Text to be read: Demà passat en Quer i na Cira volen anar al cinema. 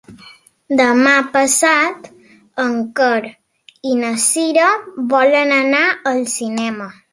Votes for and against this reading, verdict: 3, 0, accepted